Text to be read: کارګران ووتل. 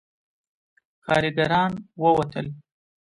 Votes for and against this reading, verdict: 2, 0, accepted